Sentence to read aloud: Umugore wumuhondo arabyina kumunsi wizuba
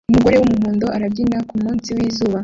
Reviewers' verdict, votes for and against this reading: accepted, 2, 0